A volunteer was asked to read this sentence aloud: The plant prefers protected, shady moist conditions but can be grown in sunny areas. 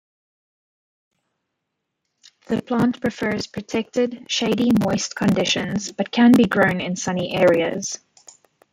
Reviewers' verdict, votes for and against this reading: rejected, 1, 2